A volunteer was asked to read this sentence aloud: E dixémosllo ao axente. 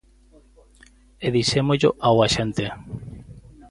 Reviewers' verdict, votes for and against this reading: accepted, 2, 0